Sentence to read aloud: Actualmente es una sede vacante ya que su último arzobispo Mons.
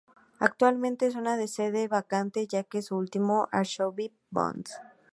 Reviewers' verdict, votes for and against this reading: rejected, 0, 2